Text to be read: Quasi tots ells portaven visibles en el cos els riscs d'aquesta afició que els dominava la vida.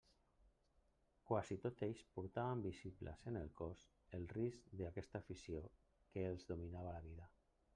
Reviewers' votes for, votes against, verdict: 1, 2, rejected